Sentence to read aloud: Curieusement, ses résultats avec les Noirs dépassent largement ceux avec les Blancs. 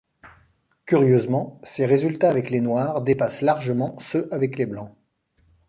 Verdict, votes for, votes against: accepted, 2, 0